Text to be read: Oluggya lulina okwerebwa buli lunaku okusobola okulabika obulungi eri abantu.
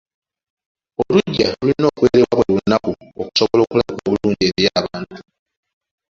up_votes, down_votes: 2, 1